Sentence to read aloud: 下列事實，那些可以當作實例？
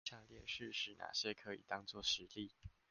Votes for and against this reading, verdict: 1, 2, rejected